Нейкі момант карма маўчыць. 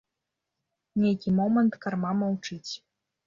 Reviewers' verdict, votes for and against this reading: rejected, 0, 2